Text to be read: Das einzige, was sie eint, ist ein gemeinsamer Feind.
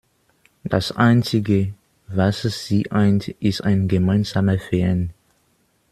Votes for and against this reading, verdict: 0, 2, rejected